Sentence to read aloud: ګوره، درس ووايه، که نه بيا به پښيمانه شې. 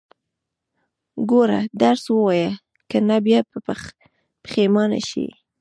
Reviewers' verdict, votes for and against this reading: rejected, 1, 2